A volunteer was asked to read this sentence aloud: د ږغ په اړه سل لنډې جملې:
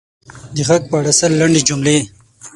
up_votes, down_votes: 6, 3